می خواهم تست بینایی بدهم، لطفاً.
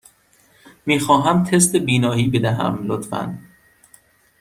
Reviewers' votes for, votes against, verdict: 2, 0, accepted